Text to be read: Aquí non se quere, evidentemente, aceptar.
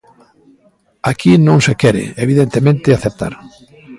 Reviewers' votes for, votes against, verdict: 2, 0, accepted